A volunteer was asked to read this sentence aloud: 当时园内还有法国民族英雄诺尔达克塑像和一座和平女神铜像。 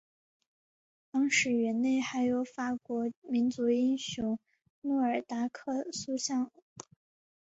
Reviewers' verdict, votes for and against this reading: rejected, 1, 2